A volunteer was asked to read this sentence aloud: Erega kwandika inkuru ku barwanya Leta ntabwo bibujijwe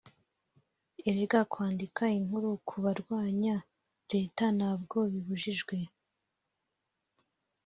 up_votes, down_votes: 0, 3